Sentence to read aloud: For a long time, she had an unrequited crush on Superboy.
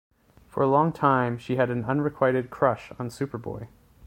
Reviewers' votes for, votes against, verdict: 2, 0, accepted